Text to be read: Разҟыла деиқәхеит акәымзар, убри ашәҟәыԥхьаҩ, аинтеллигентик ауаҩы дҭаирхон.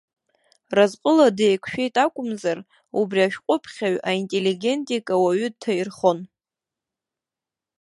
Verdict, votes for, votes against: rejected, 2, 3